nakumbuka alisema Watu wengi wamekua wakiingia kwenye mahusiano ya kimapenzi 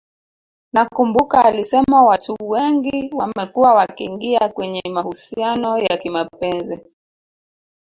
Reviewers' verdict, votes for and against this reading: rejected, 1, 2